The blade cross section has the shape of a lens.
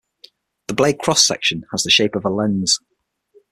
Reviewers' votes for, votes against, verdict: 6, 3, accepted